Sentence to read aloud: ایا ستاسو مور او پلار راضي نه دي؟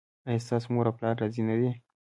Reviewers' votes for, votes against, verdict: 1, 2, rejected